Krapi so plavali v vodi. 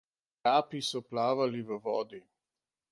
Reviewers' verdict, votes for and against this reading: rejected, 1, 2